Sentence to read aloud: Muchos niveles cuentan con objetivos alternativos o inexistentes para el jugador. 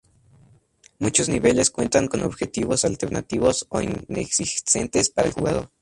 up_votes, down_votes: 2, 0